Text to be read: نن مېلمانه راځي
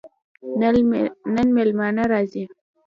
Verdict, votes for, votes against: accepted, 2, 1